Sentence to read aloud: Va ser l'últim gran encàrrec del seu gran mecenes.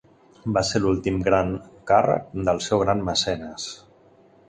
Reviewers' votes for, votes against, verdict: 0, 2, rejected